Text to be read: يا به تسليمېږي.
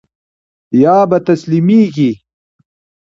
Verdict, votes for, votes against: rejected, 0, 2